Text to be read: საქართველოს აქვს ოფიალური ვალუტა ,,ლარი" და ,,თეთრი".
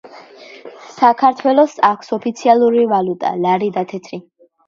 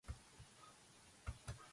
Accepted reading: first